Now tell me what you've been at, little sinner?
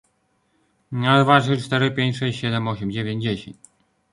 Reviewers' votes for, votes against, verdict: 0, 2, rejected